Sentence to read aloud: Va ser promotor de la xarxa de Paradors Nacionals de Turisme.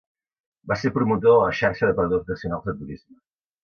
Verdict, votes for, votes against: rejected, 1, 2